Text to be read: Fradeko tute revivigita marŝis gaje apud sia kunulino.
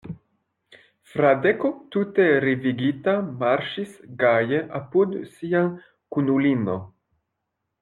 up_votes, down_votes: 1, 2